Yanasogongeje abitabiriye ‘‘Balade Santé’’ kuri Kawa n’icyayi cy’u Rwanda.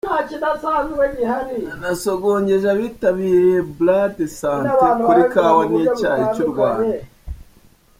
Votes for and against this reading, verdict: 1, 2, rejected